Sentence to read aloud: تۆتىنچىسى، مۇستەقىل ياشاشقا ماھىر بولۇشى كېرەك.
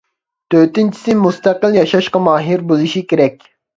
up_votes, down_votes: 2, 0